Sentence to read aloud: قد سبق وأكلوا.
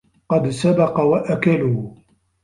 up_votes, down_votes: 1, 2